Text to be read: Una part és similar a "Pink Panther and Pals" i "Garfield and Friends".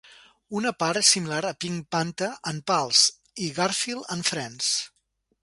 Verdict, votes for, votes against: accepted, 2, 0